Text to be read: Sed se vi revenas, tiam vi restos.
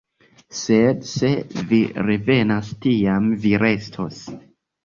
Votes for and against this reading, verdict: 2, 0, accepted